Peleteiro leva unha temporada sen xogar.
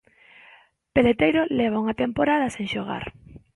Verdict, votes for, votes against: accepted, 2, 0